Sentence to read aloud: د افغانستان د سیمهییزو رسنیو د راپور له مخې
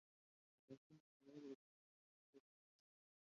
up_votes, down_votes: 0, 2